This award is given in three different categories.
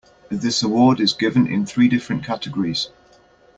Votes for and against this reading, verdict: 2, 0, accepted